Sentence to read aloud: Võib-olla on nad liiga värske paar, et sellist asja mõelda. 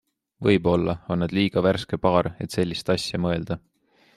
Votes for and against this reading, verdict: 2, 0, accepted